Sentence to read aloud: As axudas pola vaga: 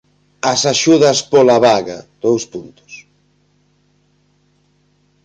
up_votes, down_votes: 0, 2